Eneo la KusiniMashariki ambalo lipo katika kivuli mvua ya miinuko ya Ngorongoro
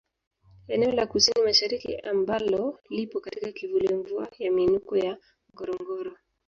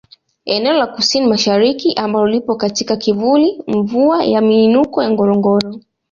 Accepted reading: second